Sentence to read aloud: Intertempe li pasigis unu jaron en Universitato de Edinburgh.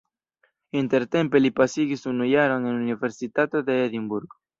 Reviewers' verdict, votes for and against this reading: rejected, 1, 2